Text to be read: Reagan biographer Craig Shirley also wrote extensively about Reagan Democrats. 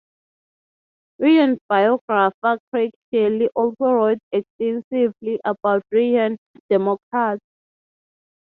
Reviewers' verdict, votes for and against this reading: rejected, 0, 3